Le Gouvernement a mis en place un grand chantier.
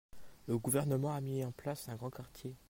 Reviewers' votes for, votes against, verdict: 1, 2, rejected